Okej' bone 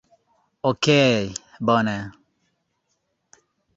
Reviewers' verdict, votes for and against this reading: accepted, 2, 0